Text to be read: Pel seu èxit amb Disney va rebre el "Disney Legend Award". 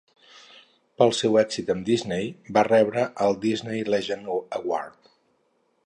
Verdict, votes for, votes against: rejected, 0, 2